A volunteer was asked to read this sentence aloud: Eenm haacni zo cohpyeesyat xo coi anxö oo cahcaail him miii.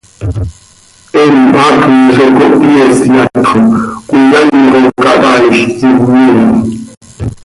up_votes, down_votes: 0, 2